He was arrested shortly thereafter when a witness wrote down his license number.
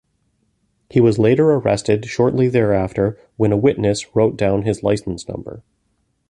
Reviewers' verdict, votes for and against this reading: rejected, 1, 2